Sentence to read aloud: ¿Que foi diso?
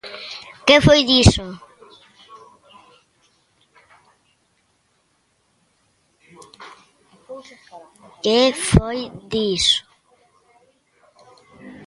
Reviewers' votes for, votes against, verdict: 0, 2, rejected